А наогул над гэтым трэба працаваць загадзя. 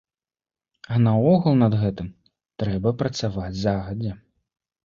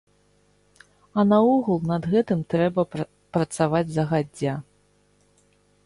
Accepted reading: first